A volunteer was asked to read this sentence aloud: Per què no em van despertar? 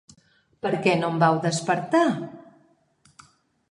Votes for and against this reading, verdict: 0, 3, rejected